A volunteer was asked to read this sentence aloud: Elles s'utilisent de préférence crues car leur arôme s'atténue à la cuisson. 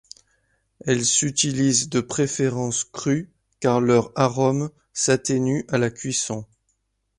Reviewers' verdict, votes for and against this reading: accepted, 2, 0